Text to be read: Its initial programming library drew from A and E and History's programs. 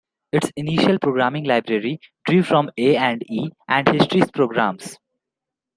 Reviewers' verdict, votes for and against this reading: accepted, 2, 1